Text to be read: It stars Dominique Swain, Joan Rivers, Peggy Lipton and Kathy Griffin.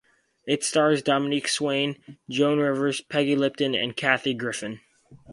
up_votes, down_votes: 2, 0